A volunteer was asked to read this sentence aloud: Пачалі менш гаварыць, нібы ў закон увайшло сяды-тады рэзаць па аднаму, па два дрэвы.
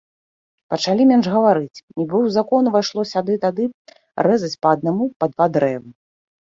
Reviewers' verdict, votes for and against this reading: accepted, 2, 0